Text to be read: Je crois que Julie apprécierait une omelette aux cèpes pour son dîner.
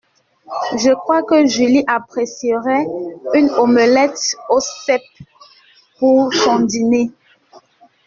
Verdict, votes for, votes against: accepted, 2, 0